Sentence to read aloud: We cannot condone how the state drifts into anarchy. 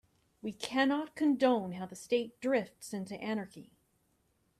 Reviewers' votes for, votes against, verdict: 2, 0, accepted